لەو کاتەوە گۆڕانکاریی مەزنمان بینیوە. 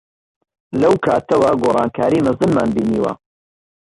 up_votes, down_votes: 2, 0